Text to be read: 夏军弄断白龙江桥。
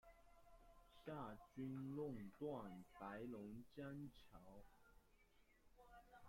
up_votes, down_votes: 0, 2